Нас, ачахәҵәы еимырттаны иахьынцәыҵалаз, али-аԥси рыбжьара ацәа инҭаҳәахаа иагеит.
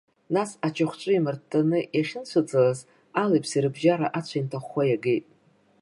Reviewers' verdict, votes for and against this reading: rejected, 1, 2